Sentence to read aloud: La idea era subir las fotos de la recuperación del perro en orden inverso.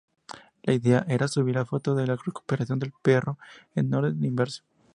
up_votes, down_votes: 0, 2